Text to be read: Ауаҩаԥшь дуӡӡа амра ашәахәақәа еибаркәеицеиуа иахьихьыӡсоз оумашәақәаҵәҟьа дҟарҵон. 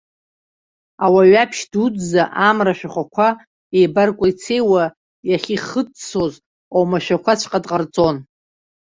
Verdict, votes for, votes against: accepted, 2, 0